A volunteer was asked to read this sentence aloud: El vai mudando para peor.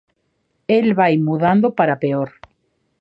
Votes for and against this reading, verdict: 2, 0, accepted